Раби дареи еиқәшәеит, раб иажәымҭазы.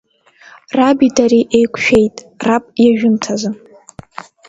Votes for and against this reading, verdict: 1, 2, rejected